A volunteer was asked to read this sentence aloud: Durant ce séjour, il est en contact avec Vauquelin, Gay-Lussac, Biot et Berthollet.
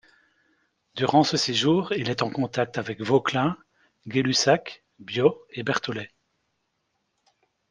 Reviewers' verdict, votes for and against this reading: accepted, 2, 0